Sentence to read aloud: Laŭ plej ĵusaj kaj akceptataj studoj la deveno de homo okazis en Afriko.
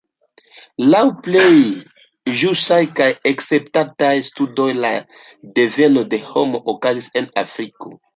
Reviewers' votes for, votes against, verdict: 2, 0, accepted